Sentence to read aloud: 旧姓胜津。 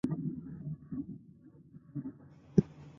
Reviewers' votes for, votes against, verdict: 0, 6, rejected